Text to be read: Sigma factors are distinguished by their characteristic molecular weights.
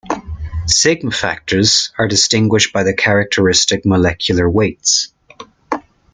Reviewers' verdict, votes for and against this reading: accepted, 2, 0